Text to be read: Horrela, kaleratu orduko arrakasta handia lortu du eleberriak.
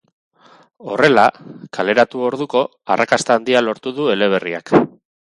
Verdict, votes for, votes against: accepted, 4, 0